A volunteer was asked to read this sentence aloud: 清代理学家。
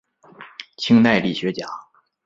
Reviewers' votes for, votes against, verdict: 2, 0, accepted